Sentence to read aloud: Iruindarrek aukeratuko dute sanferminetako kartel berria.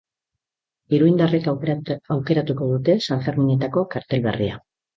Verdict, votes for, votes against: rejected, 1, 3